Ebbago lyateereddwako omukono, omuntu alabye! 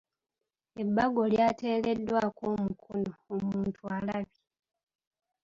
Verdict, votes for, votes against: accepted, 2, 0